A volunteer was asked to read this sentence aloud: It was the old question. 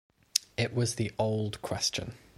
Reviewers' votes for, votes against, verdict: 2, 0, accepted